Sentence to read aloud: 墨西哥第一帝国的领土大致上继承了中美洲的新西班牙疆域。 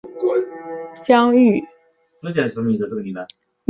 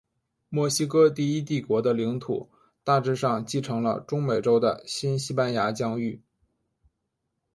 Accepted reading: second